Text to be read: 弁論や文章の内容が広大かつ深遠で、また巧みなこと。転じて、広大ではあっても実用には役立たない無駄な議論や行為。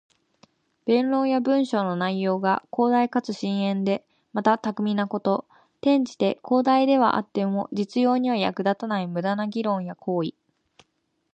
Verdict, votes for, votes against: accepted, 2, 0